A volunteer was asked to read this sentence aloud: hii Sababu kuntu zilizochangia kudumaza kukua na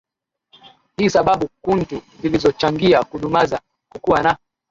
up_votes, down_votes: 3, 0